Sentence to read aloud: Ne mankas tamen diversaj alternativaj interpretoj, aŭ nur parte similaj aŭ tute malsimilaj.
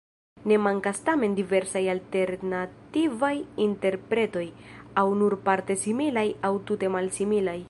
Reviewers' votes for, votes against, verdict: 1, 2, rejected